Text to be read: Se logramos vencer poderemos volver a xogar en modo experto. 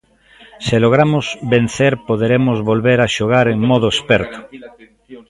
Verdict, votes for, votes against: rejected, 1, 2